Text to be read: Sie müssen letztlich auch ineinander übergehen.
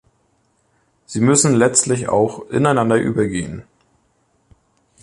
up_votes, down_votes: 2, 1